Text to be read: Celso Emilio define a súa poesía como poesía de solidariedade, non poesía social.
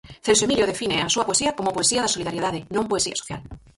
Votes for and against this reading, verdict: 0, 4, rejected